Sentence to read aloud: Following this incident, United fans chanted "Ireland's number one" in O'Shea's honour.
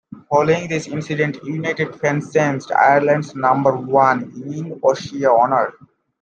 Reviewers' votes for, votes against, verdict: 1, 2, rejected